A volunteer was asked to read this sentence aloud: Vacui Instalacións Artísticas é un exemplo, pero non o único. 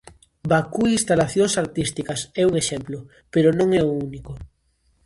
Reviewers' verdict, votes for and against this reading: rejected, 0, 2